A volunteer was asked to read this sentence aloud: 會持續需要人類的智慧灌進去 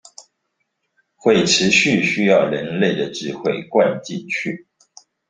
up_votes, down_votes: 2, 0